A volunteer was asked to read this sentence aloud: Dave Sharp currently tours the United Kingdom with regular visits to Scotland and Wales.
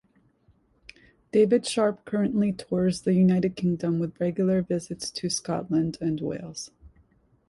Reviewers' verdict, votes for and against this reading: rejected, 0, 2